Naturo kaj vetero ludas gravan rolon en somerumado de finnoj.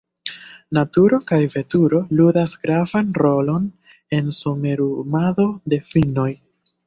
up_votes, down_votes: 0, 2